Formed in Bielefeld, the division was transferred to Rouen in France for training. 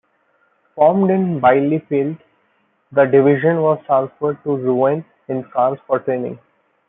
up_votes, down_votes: 2, 0